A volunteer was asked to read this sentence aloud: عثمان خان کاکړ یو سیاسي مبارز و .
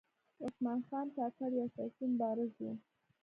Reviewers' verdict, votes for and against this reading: accepted, 2, 0